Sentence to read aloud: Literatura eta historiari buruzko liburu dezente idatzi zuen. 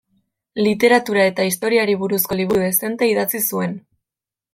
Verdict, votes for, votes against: accepted, 2, 0